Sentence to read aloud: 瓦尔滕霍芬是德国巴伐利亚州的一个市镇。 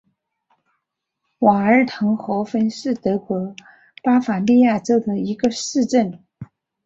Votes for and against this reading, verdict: 3, 1, accepted